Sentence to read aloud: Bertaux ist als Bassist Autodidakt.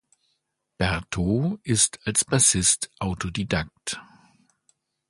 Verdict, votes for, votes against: accepted, 2, 0